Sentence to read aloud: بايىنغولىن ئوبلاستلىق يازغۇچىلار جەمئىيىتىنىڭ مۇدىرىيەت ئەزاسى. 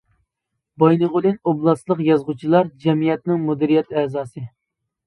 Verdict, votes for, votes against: rejected, 0, 2